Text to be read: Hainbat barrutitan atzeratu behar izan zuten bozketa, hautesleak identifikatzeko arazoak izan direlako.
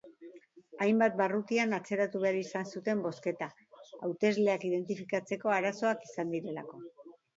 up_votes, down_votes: 2, 1